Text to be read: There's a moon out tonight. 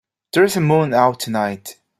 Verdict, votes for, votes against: accepted, 2, 0